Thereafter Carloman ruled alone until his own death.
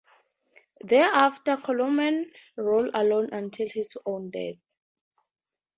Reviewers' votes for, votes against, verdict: 2, 2, rejected